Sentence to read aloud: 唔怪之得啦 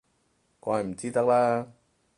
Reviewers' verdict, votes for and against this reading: rejected, 0, 4